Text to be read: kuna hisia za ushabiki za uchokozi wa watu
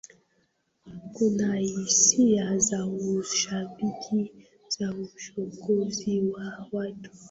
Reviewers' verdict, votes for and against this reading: rejected, 0, 2